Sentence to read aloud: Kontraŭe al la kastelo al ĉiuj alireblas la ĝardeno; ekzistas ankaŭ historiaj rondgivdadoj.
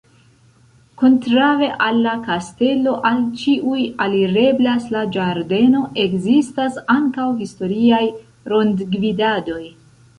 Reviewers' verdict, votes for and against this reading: rejected, 0, 2